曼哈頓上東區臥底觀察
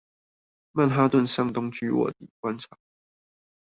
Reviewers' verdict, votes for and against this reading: rejected, 0, 2